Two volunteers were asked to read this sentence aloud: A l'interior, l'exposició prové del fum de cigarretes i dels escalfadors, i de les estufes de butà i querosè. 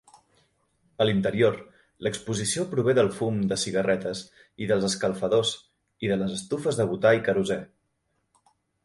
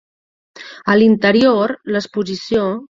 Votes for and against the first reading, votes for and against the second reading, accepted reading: 2, 0, 0, 2, first